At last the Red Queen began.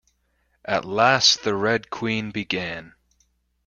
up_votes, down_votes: 2, 0